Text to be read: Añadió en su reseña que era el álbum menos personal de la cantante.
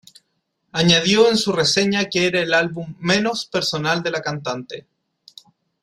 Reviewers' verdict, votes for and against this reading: accepted, 2, 0